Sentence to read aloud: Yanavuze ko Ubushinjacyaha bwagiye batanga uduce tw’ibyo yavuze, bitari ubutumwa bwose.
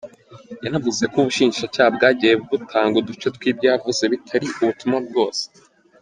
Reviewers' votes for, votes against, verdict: 2, 0, accepted